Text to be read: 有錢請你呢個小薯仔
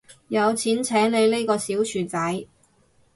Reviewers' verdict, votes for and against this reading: accepted, 6, 0